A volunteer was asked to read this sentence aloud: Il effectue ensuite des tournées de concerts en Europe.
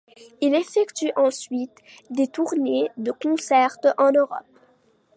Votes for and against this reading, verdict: 2, 1, accepted